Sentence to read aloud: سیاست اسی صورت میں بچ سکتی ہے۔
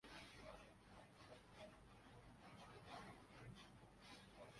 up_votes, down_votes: 1, 2